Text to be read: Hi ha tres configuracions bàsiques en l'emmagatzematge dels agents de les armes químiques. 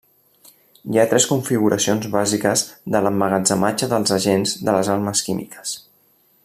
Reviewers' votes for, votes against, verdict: 0, 2, rejected